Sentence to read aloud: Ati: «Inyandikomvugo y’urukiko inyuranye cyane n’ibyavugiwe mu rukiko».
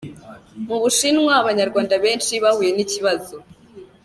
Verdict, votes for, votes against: rejected, 0, 2